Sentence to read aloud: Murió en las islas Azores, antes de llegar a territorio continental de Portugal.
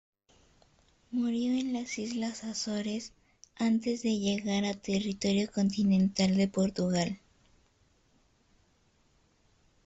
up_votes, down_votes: 2, 1